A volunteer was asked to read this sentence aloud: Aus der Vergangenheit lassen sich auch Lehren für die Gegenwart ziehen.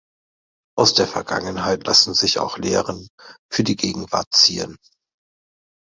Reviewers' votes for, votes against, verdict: 2, 1, accepted